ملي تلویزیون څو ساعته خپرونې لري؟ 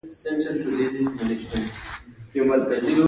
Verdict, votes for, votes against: rejected, 0, 2